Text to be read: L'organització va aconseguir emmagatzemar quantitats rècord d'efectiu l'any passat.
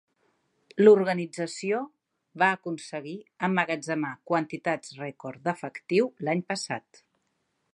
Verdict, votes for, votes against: accepted, 2, 0